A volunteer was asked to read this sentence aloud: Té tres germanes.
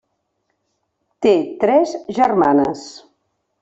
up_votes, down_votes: 3, 1